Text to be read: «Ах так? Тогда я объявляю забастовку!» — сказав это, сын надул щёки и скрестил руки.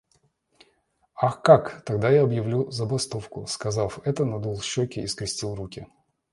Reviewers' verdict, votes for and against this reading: rejected, 1, 2